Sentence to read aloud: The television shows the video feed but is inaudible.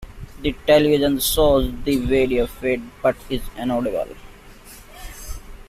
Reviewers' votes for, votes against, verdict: 1, 2, rejected